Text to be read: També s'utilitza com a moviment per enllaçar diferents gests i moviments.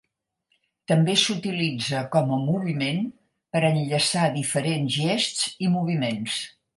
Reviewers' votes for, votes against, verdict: 4, 0, accepted